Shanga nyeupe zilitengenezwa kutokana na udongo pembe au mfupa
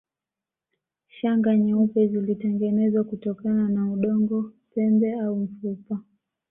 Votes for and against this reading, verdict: 2, 0, accepted